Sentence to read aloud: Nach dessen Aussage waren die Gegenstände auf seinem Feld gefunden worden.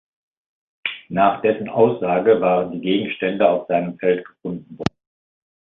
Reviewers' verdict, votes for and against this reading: rejected, 0, 2